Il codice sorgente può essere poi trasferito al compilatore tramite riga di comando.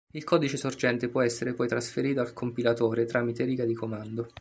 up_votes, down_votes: 2, 0